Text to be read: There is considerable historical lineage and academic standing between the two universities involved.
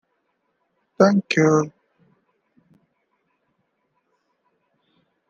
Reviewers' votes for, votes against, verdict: 0, 2, rejected